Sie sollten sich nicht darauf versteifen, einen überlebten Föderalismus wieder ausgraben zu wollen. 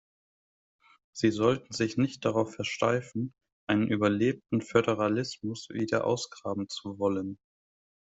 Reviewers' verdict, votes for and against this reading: accepted, 2, 0